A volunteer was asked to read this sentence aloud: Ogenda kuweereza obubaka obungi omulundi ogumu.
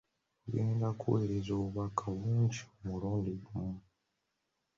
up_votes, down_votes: 1, 2